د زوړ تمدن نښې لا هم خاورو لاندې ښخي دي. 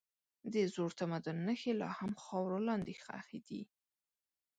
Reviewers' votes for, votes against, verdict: 2, 0, accepted